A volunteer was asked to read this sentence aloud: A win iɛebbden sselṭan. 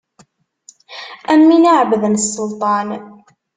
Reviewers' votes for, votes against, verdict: 0, 2, rejected